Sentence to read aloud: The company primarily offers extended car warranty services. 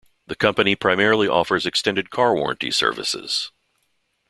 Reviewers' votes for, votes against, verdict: 2, 0, accepted